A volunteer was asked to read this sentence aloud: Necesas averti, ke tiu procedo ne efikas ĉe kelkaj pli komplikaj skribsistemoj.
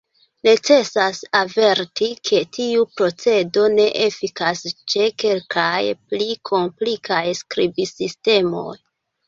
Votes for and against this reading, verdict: 0, 2, rejected